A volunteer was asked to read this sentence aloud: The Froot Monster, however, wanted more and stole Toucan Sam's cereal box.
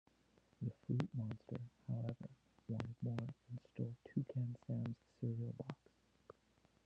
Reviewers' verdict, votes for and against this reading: rejected, 0, 2